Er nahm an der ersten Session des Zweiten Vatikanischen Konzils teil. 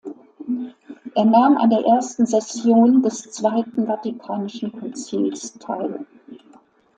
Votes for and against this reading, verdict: 1, 2, rejected